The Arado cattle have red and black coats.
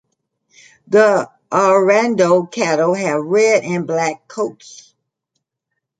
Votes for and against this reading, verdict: 0, 2, rejected